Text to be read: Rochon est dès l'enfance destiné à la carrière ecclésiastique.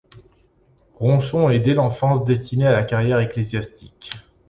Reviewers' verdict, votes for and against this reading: rejected, 1, 2